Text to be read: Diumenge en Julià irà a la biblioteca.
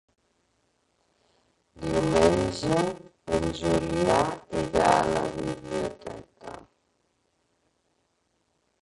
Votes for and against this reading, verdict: 0, 2, rejected